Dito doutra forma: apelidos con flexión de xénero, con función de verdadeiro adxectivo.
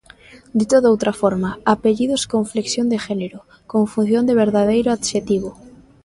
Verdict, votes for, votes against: rejected, 0, 2